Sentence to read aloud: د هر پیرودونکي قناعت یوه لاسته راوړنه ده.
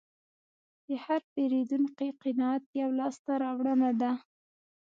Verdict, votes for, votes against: accepted, 2, 0